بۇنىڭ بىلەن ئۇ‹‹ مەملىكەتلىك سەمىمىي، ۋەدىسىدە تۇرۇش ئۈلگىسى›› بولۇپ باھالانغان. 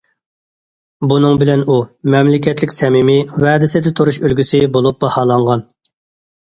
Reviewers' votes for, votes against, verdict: 2, 0, accepted